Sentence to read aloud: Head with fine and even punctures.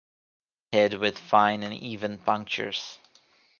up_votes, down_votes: 2, 0